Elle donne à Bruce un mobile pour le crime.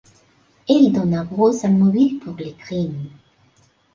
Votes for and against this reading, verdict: 3, 0, accepted